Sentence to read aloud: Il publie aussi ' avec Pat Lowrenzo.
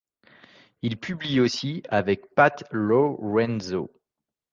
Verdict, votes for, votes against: accepted, 2, 0